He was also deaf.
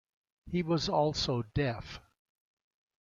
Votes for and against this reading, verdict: 2, 0, accepted